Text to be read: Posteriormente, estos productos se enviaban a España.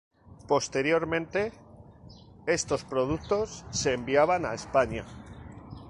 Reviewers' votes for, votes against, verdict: 2, 0, accepted